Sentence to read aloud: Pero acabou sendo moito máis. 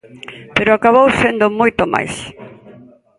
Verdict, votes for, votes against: accepted, 2, 0